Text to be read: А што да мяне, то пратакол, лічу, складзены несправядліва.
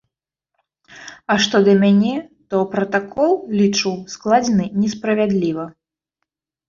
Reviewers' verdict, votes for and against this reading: accepted, 2, 0